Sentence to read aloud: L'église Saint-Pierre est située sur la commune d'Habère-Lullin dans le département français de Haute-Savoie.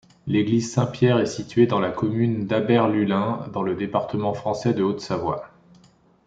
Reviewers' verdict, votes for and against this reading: rejected, 0, 2